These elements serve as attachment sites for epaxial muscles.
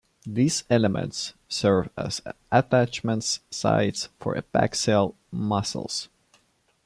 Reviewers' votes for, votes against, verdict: 0, 2, rejected